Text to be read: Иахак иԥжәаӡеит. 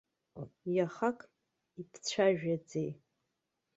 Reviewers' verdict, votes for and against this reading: rejected, 0, 2